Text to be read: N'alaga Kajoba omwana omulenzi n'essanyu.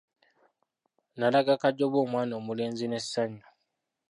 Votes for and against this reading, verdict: 2, 1, accepted